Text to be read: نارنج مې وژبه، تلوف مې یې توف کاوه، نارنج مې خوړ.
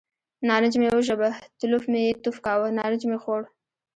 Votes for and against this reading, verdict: 1, 2, rejected